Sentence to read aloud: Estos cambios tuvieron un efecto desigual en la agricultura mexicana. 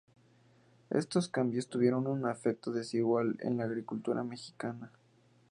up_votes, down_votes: 0, 2